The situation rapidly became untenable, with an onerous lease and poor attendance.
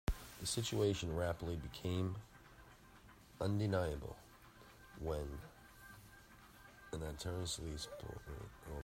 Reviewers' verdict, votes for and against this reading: rejected, 0, 2